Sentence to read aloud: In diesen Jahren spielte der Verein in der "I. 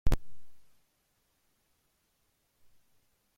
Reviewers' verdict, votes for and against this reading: rejected, 0, 2